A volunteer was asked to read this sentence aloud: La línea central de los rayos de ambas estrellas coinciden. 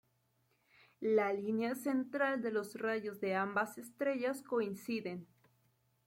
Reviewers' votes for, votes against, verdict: 2, 0, accepted